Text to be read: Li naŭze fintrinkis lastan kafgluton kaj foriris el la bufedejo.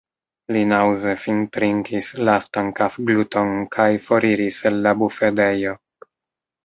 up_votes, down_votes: 1, 2